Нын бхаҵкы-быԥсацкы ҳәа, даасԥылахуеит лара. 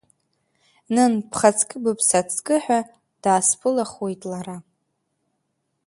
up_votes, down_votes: 2, 1